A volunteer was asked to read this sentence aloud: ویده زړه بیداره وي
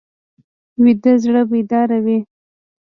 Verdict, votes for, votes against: accepted, 2, 1